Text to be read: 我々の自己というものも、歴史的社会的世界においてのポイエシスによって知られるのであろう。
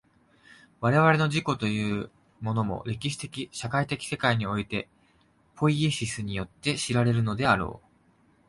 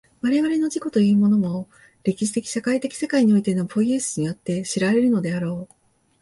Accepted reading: second